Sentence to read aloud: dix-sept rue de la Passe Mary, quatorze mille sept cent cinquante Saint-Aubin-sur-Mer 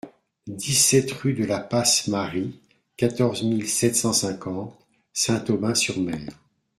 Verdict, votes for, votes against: accepted, 2, 0